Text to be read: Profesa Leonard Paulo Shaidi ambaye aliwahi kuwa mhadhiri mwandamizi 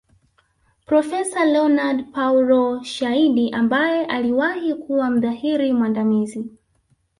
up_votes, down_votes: 2, 0